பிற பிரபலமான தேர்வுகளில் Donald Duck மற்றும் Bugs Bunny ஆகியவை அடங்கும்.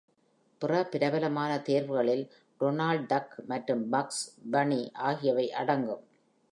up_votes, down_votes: 2, 0